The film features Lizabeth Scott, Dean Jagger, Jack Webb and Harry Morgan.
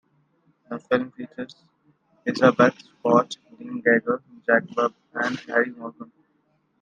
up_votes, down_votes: 0, 2